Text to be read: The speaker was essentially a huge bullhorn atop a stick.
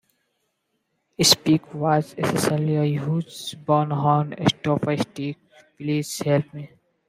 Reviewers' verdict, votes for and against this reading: rejected, 0, 2